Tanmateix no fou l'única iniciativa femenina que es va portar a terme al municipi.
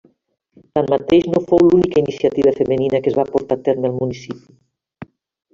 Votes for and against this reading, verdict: 1, 2, rejected